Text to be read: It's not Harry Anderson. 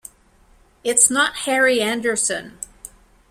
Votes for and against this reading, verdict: 2, 0, accepted